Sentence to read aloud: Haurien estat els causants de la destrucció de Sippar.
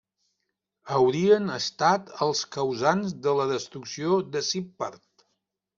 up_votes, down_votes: 2, 0